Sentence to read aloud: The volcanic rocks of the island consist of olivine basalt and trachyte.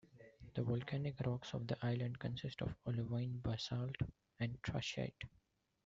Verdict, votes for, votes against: rejected, 0, 2